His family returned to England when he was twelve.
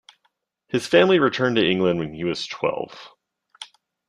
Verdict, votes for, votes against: accepted, 2, 0